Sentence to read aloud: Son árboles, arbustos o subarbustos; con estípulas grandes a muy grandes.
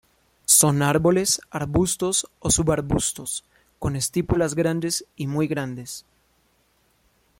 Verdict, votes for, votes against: rejected, 1, 2